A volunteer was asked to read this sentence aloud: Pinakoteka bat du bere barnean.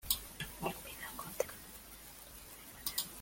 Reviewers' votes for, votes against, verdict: 0, 2, rejected